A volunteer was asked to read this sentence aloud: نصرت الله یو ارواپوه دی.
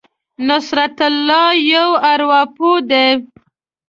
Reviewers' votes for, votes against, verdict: 2, 0, accepted